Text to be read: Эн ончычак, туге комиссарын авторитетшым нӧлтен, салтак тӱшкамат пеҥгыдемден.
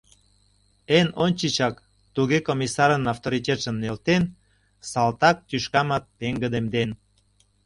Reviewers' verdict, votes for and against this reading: accepted, 2, 0